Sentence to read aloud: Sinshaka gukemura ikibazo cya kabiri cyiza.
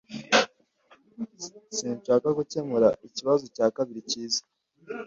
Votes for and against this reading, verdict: 1, 2, rejected